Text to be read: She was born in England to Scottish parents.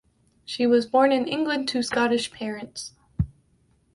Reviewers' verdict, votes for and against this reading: accepted, 2, 0